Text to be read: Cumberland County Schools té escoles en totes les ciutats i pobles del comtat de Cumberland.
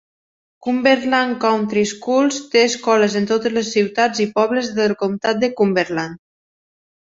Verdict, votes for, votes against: accepted, 2, 0